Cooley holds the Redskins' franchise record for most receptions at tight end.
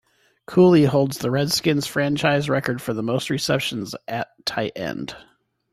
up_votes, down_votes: 2, 0